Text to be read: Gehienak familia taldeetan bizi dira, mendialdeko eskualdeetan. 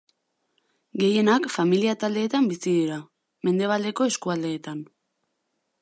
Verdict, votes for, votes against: rejected, 0, 2